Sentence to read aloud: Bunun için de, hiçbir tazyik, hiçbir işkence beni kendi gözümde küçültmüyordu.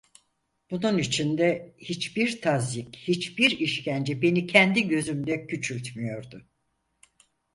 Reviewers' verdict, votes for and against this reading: accepted, 4, 0